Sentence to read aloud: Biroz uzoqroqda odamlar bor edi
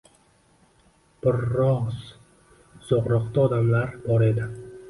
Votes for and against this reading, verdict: 1, 2, rejected